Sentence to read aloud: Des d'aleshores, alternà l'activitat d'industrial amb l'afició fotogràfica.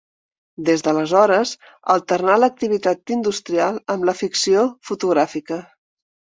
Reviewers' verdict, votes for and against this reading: rejected, 0, 3